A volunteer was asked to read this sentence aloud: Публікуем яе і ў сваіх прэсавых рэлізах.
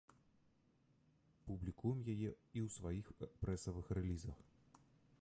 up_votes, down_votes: 1, 2